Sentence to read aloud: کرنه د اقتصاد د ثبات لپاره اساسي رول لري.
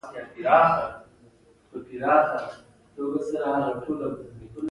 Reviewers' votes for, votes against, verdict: 2, 0, accepted